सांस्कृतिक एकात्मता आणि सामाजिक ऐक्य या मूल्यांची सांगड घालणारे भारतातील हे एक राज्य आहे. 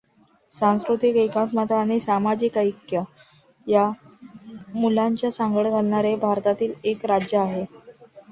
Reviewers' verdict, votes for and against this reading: rejected, 0, 2